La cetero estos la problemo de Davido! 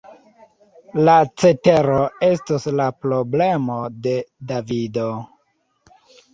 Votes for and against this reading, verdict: 2, 1, accepted